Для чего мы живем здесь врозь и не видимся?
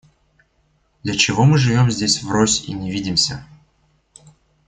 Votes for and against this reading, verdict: 2, 0, accepted